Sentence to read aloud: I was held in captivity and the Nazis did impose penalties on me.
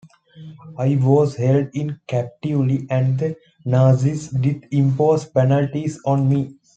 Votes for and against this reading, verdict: 2, 0, accepted